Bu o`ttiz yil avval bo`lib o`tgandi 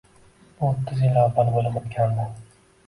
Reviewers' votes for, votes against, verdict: 2, 1, accepted